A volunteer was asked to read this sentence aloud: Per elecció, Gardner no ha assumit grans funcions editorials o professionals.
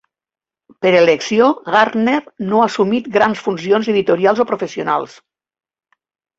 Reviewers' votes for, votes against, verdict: 2, 0, accepted